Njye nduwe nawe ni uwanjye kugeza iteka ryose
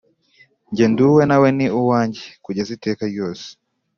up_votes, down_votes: 4, 0